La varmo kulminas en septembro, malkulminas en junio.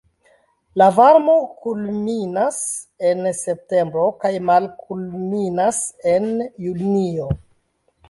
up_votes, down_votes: 1, 2